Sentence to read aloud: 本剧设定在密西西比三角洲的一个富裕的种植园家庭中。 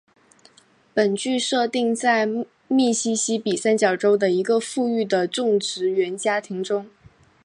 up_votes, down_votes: 0, 2